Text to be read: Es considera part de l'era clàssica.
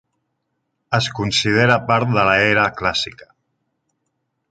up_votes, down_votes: 1, 2